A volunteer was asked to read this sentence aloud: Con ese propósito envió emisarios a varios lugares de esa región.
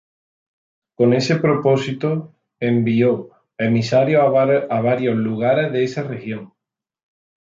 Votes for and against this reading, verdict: 0, 2, rejected